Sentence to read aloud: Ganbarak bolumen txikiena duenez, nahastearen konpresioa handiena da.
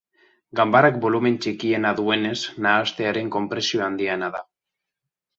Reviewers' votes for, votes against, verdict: 2, 0, accepted